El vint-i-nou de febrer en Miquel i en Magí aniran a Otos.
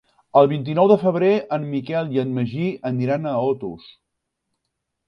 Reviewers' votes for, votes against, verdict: 4, 0, accepted